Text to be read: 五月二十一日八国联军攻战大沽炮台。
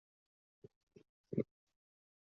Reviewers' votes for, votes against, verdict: 2, 4, rejected